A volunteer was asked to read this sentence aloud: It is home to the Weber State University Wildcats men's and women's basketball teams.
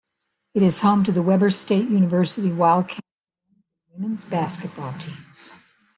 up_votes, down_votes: 0, 2